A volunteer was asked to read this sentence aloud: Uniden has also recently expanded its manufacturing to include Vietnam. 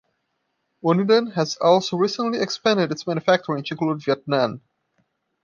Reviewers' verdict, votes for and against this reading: accepted, 2, 0